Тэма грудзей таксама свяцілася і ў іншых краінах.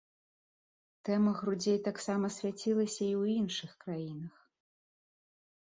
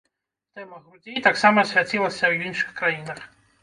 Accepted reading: first